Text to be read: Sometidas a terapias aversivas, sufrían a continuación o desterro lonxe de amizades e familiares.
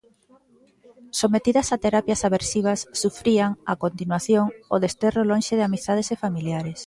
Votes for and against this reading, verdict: 2, 0, accepted